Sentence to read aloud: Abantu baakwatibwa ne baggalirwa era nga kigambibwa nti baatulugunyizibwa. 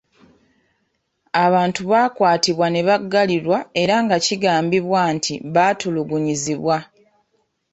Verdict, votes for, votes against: accepted, 2, 0